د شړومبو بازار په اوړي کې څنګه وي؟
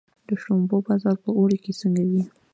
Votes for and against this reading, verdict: 2, 0, accepted